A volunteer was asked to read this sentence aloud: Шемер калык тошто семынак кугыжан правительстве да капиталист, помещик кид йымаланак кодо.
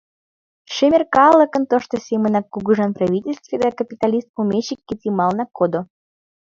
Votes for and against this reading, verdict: 1, 2, rejected